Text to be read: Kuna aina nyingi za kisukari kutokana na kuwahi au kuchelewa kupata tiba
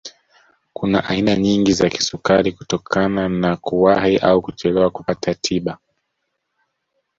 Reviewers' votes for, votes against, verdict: 0, 2, rejected